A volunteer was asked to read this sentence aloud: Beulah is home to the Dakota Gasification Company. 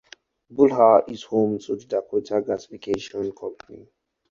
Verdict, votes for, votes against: accepted, 4, 0